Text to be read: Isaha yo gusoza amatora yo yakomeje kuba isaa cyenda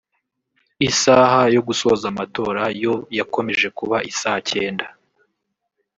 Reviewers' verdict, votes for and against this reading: rejected, 1, 2